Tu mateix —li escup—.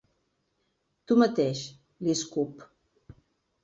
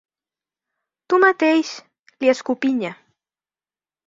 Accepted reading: first